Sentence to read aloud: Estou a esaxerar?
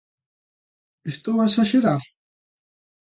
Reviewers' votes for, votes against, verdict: 2, 0, accepted